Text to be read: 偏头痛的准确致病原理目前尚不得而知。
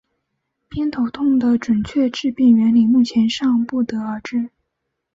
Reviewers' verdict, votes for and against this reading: accepted, 3, 0